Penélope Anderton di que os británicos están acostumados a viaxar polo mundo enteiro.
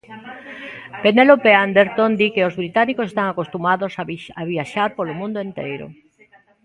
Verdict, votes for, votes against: rejected, 0, 2